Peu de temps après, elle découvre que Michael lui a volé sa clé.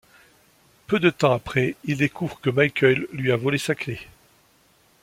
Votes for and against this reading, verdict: 0, 2, rejected